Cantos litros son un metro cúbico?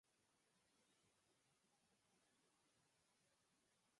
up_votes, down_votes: 0, 4